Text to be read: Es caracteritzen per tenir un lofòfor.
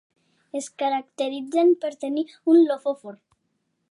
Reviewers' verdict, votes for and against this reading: accepted, 2, 0